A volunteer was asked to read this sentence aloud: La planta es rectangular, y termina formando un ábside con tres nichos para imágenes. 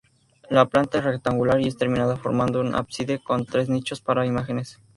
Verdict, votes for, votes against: rejected, 0, 2